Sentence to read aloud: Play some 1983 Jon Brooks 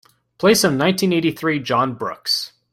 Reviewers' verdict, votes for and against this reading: rejected, 0, 2